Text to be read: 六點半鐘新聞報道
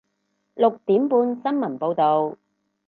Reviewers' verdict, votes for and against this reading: rejected, 2, 2